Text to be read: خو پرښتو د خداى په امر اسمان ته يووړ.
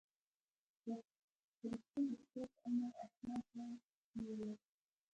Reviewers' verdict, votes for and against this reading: rejected, 0, 2